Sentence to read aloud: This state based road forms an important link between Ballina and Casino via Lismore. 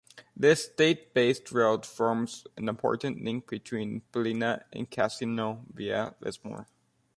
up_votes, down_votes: 2, 0